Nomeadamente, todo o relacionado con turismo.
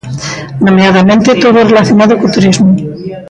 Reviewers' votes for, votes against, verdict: 0, 2, rejected